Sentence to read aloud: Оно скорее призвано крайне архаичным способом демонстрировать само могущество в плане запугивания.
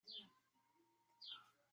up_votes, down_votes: 1, 2